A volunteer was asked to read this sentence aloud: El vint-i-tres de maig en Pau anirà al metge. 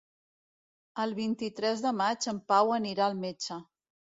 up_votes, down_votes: 2, 0